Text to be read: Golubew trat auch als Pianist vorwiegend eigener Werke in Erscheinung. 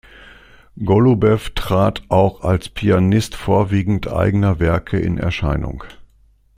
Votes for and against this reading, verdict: 2, 0, accepted